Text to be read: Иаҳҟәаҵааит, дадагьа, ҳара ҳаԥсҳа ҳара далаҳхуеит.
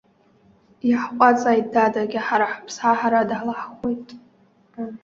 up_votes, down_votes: 1, 2